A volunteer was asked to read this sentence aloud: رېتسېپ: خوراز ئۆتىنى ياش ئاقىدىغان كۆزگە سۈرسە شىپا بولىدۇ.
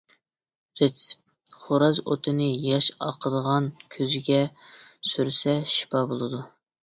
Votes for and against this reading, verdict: 0, 2, rejected